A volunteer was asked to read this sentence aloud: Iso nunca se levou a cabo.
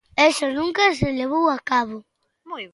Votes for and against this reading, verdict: 0, 2, rejected